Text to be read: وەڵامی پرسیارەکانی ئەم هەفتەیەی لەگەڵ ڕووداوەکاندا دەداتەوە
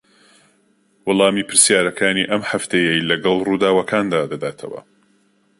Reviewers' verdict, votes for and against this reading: accepted, 2, 0